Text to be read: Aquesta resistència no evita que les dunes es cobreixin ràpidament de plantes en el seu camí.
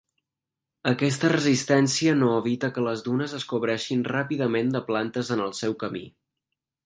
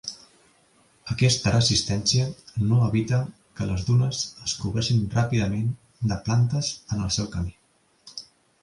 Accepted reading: first